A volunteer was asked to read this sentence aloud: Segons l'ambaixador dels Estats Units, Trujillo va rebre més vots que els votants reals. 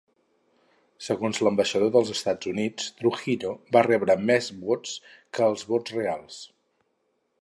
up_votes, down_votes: 0, 4